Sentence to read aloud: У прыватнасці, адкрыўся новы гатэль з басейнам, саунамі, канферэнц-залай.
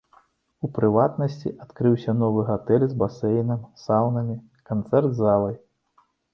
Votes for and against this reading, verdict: 1, 2, rejected